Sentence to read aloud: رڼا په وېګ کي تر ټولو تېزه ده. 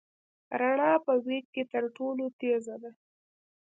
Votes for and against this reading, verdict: 1, 2, rejected